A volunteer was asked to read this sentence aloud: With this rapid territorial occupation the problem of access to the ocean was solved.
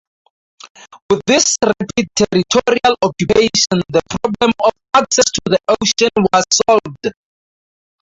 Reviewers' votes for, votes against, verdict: 2, 4, rejected